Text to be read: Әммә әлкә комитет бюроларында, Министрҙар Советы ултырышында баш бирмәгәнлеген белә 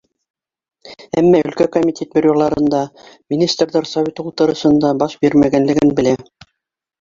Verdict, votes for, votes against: rejected, 1, 2